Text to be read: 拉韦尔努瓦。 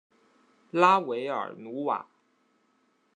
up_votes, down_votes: 1, 2